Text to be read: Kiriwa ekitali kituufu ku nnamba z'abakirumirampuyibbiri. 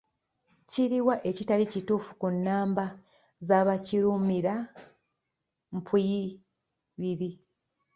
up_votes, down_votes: 0, 2